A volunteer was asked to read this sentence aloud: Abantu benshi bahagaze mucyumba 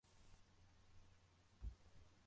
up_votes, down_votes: 0, 2